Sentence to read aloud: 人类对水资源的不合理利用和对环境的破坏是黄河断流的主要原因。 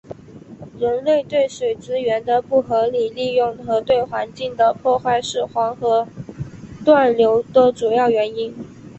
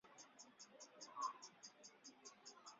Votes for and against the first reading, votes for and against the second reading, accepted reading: 2, 1, 0, 3, first